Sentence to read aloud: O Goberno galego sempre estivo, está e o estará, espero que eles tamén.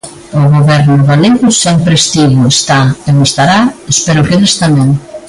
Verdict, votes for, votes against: rejected, 0, 2